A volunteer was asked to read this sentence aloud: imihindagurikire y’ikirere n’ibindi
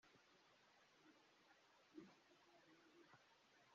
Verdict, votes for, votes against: rejected, 0, 2